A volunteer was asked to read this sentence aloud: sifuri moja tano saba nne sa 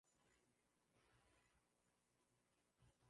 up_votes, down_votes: 0, 2